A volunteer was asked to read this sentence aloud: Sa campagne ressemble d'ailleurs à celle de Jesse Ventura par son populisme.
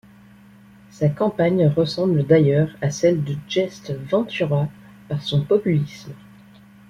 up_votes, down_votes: 2, 1